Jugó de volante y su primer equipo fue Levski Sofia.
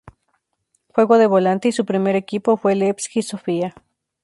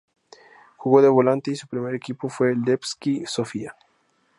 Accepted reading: second